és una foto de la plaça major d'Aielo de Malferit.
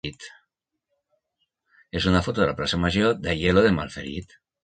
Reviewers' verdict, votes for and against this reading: rejected, 1, 2